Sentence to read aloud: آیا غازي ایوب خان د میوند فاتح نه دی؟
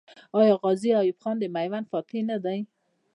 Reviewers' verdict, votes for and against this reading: accepted, 2, 0